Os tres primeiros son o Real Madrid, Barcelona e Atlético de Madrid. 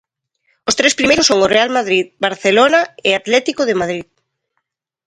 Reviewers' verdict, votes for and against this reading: accepted, 2, 0